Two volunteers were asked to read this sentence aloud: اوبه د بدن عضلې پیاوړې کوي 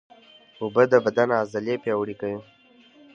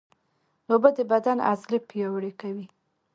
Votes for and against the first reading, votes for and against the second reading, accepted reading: 2, 0, 0, 2, first